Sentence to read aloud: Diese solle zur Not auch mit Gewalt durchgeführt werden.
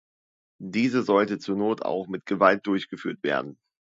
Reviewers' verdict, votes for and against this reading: rejected, 0, 2